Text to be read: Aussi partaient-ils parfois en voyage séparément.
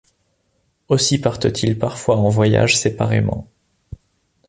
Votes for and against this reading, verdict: 1, 2, rejected